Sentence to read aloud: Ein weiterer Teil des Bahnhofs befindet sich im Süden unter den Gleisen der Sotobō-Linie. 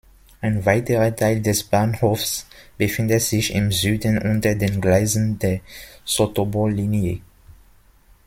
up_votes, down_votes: 2, 0